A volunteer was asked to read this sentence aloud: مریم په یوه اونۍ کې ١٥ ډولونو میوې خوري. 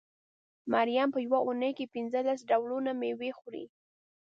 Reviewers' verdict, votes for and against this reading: rejected, 0, 2